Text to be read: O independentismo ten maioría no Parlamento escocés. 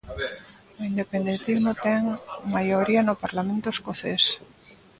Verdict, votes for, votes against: rejected, 0, 2